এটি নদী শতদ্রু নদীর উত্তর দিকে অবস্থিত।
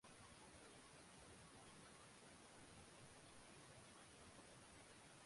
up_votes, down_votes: 0, 2